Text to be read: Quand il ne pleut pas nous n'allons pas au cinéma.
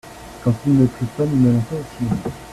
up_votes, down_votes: 0, 2